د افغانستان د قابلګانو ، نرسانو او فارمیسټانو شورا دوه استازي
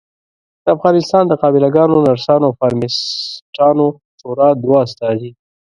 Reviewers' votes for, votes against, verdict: 2, 1, accepted